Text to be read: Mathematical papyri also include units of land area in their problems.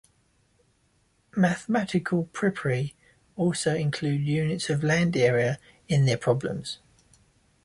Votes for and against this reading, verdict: 2, 0, accepted